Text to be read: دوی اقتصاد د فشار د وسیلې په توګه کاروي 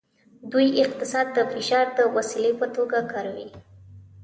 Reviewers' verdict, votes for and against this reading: rejected, 1, 2